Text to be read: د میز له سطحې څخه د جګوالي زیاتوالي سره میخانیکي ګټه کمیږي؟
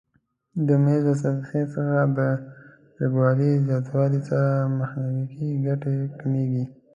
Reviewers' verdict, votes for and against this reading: accepted, 2, 1